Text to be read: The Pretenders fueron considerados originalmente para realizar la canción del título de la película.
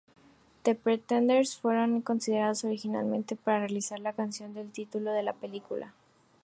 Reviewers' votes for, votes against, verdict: 2, 0, accepted